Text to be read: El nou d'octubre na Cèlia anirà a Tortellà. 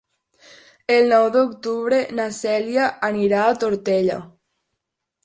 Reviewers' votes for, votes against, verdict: 3, 1, accepted